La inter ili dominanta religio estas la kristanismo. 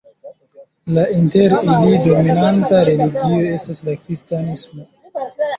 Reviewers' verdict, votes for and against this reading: rejected, 1, 2